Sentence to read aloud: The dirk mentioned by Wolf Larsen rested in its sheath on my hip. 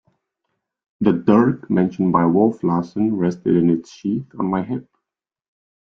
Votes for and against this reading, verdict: 2, 0, accepted